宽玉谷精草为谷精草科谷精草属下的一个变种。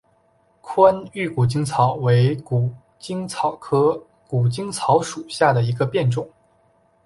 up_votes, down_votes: 2, 0